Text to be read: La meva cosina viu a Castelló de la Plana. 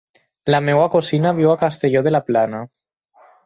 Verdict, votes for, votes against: accepted, 4, 0